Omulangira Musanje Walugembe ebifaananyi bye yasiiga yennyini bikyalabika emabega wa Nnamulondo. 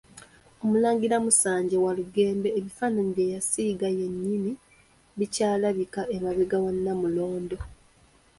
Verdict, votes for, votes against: accepted, 2, 0